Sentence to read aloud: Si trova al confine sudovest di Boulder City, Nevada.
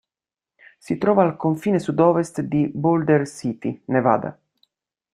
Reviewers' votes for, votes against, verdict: 2, 0, accepted